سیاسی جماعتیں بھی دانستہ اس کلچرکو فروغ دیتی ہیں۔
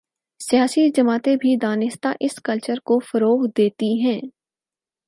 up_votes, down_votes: 4, 0